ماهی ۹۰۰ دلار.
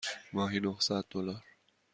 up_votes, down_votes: 0, 2